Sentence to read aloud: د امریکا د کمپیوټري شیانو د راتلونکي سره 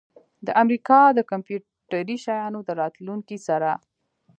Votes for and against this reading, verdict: 2, 1, accepted